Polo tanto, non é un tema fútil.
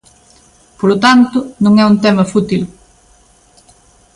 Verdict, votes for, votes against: accepted, 2, 0